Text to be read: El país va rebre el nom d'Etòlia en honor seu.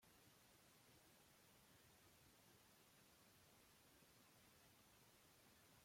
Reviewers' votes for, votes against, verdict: 0, 2, rejected